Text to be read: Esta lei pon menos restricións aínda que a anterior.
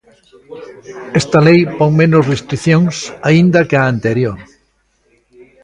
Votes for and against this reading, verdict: 1, 2, rejected